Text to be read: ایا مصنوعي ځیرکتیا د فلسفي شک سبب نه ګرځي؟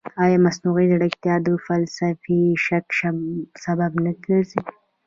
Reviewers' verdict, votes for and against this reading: rejected, 1, 2